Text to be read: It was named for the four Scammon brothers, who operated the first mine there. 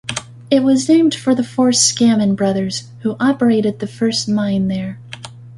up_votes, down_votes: 2, 0